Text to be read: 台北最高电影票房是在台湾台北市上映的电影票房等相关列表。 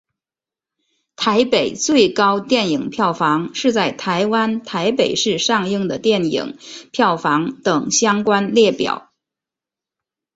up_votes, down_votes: 2, 1